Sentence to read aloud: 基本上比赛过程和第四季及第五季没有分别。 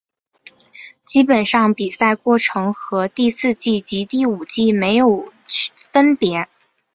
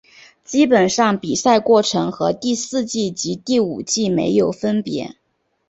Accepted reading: second